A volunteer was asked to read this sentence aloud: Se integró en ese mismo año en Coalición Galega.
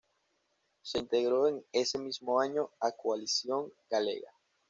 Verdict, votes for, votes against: rejected, 0, 2